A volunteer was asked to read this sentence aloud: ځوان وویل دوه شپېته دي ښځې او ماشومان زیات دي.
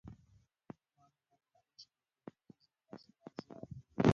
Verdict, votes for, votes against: rejected, 0, 2